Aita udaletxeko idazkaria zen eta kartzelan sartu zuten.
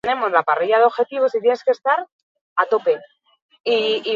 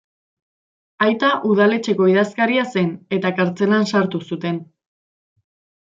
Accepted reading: second